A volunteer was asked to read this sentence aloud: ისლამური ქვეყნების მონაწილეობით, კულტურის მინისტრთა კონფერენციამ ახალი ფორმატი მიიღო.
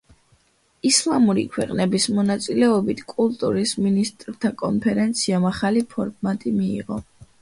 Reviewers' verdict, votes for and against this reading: accepted, 2, 0